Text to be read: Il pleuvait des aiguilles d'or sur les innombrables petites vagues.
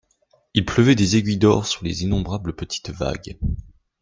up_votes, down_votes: 2, 0